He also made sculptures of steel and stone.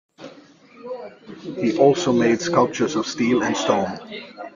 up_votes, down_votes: 0, 2